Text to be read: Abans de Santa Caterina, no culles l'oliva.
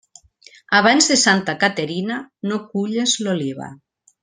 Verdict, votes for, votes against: accepted, 3, 0